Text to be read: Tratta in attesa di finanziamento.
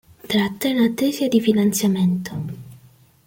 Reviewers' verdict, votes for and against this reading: accepted, 2, 0